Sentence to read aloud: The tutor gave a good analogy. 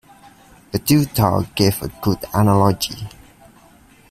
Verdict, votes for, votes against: rejected, 1, 2